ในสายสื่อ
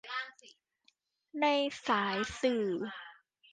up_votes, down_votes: 2, 1